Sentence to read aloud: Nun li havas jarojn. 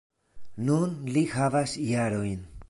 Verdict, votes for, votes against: accepted, 2, 0